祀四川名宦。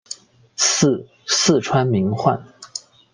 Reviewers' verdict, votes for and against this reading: accepted, 2, 0